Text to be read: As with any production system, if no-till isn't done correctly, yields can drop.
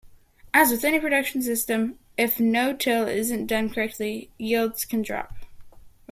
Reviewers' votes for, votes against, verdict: 1, 2, rejected